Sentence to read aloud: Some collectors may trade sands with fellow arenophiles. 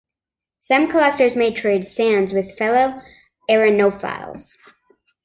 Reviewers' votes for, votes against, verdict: 3, 0, accepted